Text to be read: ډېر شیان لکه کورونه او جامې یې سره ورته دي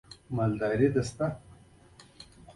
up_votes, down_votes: 1, 2